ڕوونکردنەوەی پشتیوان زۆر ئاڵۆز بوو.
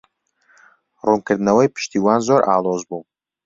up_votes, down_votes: 2, 0